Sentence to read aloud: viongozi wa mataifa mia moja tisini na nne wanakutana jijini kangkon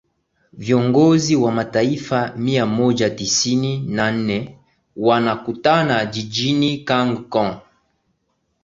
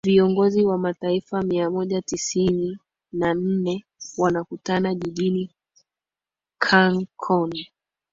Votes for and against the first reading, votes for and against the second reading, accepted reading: 12, 2, 1, 2, first